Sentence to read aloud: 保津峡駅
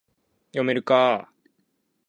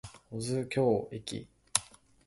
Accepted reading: second